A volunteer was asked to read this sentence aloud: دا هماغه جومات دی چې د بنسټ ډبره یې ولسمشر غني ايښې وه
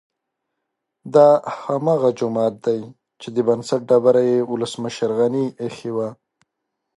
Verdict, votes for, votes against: accepted, 2, 0